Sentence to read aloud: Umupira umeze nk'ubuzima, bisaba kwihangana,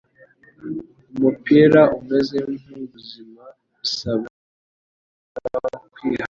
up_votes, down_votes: 1, 2